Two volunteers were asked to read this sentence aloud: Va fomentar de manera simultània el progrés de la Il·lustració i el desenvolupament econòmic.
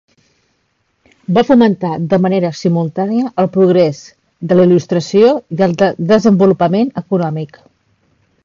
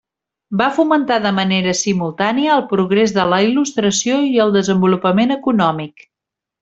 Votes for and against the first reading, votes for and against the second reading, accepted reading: 0, 2, 3, 0, second